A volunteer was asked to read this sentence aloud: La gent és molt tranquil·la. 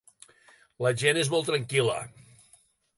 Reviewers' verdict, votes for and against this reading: accepted, 3, 0